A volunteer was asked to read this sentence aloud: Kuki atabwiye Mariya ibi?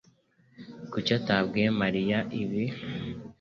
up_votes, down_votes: 3, 0